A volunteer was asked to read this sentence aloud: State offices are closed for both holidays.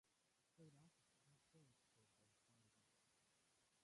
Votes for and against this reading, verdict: 0, 2, rejected